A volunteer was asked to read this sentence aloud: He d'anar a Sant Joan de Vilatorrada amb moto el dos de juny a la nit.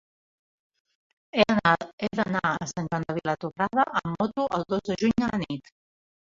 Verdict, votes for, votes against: rejected, 0, 2